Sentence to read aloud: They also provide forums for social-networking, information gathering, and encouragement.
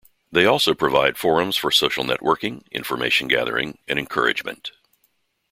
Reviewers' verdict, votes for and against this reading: accepted, 2, 0